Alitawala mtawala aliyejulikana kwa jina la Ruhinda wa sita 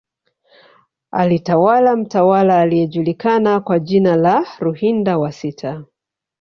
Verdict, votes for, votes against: accepted, 2, 1